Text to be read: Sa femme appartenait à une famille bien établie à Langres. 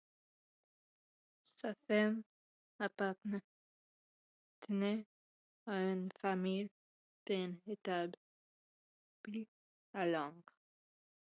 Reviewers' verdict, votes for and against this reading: rejected, 1, 2